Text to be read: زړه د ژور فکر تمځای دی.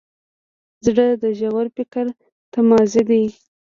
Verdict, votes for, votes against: rejected, 0, 2